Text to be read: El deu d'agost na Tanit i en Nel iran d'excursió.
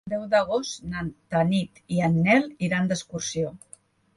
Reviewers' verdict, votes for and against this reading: rejected, 0, 2